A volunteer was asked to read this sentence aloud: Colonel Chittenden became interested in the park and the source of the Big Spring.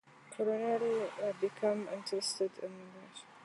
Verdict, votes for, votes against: rejected, 0, 2